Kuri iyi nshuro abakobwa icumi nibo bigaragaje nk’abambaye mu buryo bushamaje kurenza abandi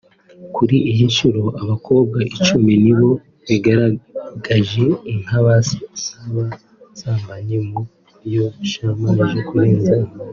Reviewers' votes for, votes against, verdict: 0, 2, rejected